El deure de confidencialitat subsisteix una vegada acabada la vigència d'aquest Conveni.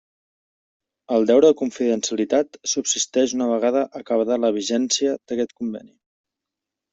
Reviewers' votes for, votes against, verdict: 1, 2, rejected